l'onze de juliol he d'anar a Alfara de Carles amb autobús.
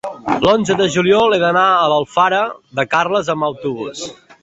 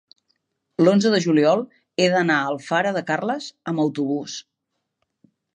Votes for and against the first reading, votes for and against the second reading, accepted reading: 0, 2, 3, 0, second